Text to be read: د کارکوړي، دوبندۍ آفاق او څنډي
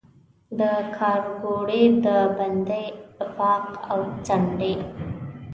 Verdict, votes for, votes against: rejected, 1, 2